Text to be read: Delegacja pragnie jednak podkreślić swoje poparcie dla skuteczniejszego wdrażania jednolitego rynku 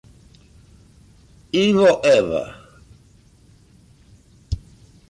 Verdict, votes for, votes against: rejected, 0, 2